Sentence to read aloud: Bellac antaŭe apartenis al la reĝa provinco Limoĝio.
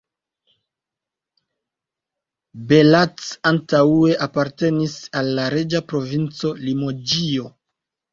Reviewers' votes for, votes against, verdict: 0, 2, rejected